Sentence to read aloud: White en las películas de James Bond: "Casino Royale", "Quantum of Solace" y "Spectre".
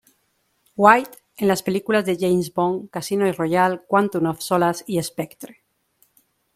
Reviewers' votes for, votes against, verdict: 2, 0, accepted